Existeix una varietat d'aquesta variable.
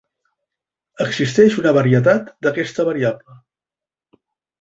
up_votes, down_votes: 3, 0